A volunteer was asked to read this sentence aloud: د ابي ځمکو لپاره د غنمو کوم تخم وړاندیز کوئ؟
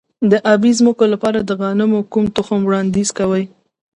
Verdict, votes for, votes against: accepted, 2, 0